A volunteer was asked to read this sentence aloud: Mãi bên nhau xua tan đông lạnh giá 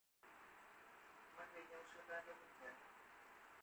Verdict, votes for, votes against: rejected, 0, 2